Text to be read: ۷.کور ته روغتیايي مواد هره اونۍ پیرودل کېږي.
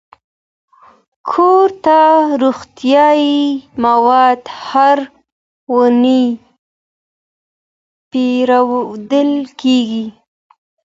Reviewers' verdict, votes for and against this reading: rejected, 0, 2